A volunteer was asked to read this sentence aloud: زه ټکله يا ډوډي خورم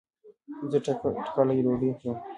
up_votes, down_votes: 1, 2